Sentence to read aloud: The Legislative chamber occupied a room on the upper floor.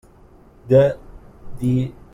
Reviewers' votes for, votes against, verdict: 0, 2, rejected